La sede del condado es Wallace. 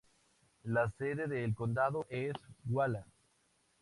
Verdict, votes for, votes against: accepted, 2, 0